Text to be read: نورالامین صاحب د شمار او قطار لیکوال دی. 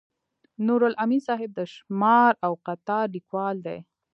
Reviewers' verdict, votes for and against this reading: rejected, 1, 2